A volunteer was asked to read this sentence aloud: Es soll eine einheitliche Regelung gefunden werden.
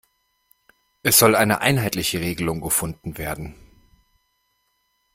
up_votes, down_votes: 2, 0